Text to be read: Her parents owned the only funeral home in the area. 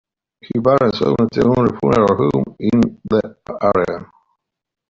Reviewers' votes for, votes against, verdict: 0, 2, rejected